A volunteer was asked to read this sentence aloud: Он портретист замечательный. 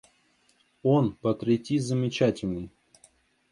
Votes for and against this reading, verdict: 0, 2, rejected